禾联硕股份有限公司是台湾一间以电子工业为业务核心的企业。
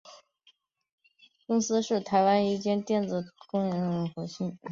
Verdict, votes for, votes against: rejected, 0, 3